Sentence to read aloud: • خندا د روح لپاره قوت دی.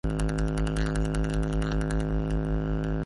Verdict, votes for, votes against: rejected, 0, 4